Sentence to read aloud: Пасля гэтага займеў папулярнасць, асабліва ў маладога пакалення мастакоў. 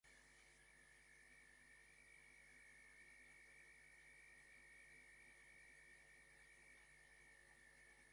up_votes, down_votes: 0, 2